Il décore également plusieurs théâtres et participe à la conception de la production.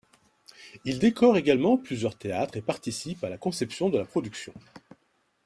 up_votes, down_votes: 1, 2